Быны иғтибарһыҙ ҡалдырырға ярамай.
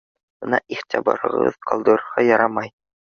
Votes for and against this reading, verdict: 1, 2, rejected